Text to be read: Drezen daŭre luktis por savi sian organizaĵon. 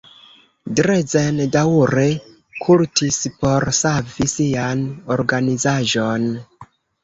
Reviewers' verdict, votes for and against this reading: rejected, 0, 2